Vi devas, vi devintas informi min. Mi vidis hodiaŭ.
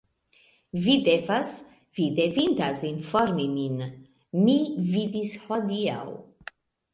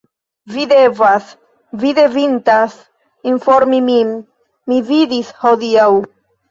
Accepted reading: first